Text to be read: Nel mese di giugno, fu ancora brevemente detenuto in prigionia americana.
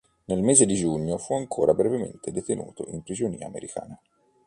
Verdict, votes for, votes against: accepted, 2, 0